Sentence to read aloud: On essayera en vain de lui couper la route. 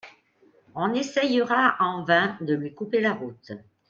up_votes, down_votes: 2, 0